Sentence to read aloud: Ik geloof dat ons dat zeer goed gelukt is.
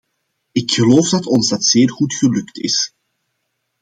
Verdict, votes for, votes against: accepted, 2, 0